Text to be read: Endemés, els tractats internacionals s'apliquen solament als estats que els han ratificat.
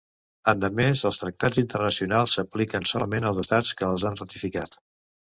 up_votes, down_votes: 2, 1